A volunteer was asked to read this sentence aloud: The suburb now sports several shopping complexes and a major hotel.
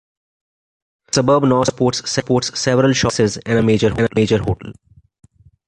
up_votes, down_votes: 0, 2